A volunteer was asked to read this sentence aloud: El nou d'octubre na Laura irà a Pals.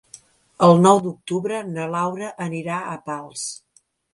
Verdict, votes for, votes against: rejected, 0, 2